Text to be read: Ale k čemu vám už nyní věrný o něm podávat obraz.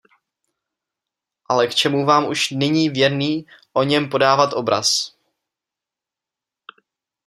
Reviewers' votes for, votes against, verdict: 2, 0, accepted